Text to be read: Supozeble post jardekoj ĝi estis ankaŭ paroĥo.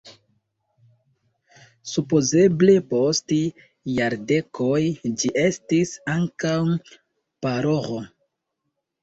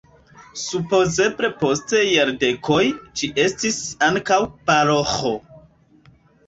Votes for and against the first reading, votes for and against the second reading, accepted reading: 2, 0, 1, 3, first